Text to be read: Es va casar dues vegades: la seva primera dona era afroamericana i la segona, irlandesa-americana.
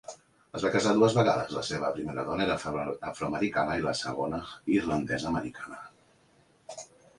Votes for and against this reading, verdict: 2, 3, rejected